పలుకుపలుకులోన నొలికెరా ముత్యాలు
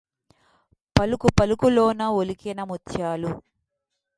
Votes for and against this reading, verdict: 0, 2, rejected